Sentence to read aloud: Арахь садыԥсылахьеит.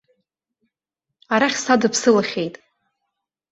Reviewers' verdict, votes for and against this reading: accepted, 3, 0